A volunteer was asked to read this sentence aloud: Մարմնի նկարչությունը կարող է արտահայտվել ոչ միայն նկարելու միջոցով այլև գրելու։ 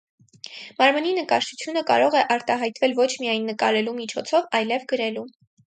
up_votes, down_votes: 4, 0